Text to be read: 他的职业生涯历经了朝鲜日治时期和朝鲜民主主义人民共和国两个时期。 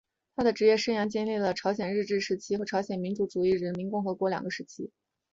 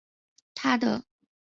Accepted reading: first